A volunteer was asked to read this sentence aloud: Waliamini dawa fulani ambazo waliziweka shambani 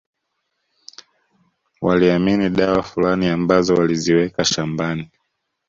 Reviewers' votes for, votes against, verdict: 2, 0, accepted